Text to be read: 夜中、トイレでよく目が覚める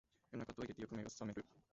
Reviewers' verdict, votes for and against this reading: rejected, 0, 2